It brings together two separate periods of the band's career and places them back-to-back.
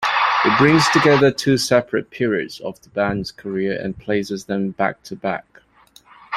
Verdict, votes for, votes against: accepted, 2, 0